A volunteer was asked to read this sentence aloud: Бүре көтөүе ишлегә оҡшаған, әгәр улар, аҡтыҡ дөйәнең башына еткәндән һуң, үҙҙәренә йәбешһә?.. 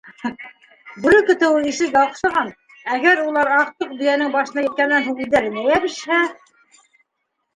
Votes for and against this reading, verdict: 0, 2, rejected